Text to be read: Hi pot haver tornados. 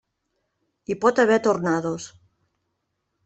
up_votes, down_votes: 1, 2